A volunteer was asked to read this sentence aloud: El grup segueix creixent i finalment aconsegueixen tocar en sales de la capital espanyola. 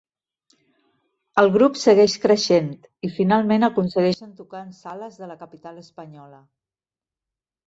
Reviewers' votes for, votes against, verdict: 2, 3, rejected